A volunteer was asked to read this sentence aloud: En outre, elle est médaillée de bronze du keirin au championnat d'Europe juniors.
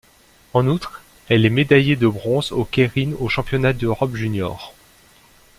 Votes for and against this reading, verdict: 1, 2, rejected